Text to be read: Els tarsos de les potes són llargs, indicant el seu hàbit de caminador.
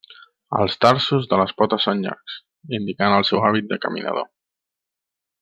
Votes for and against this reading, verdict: 2, 0, accepted